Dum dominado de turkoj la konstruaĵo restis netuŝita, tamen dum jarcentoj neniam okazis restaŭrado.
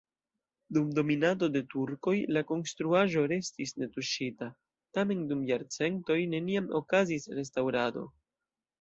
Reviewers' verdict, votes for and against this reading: accepted, 2, 1